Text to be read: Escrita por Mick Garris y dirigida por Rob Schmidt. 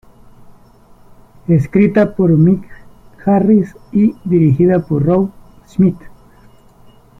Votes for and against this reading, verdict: 2, 0, accepted